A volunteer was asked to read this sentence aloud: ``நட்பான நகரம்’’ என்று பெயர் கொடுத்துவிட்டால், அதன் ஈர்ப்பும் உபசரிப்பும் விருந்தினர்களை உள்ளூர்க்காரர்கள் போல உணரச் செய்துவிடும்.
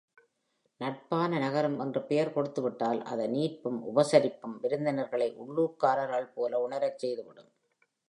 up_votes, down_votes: 3, 1